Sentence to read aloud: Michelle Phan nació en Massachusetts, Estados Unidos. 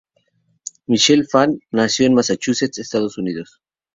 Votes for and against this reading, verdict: 2, 0, accepted